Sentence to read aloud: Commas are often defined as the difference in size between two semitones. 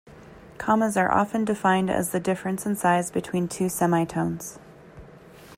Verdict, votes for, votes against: rejected, 1, 2